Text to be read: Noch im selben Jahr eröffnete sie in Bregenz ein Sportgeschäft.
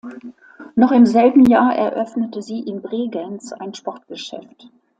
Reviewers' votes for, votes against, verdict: 3, 0, accepted